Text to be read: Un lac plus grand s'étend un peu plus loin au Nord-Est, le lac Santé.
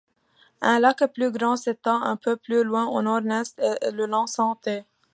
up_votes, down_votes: 0, 2